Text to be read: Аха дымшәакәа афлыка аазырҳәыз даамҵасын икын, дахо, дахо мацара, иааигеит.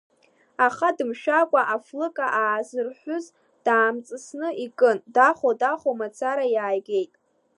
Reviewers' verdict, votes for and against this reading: accepted, 2, 0